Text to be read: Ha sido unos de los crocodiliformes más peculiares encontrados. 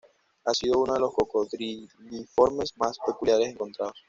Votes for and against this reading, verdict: 2, 0, accepted